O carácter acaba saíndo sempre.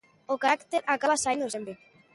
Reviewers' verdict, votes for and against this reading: rejected, 0, 2